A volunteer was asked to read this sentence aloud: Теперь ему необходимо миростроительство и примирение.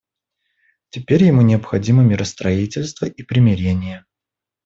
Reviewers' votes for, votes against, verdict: 2, 0, accepted